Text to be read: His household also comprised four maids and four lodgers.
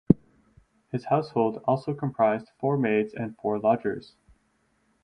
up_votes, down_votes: 4, 0